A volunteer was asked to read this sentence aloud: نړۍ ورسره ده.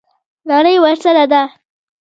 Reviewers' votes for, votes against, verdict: 1, 2, rejected